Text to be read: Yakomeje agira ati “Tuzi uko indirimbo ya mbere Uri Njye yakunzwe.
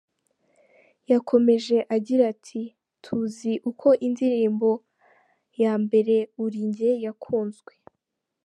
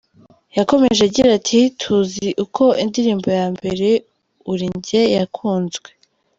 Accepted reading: first